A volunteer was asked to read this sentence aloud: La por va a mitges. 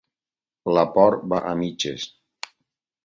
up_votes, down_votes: 4, 2